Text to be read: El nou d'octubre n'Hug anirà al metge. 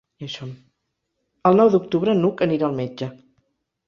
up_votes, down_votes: 1, 2